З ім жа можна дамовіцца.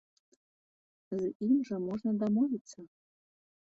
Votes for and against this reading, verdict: 2, 1, accepted